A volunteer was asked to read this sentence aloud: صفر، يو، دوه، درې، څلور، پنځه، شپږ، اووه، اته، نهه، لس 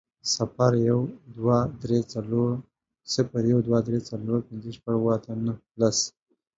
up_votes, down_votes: 1, 2